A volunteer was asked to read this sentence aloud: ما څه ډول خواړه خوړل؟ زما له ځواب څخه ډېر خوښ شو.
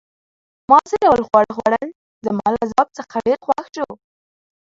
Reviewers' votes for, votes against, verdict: 2, 0, accepted